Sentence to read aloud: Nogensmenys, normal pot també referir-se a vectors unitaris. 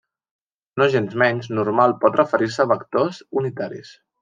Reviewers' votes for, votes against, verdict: 0, 2, rejected